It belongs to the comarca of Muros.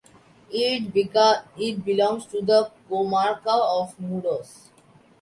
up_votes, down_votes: 0, 2